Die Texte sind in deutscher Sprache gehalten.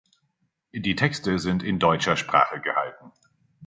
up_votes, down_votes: 2, 0